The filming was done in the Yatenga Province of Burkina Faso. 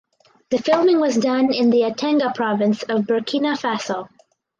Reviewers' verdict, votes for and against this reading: accepted, 4, 0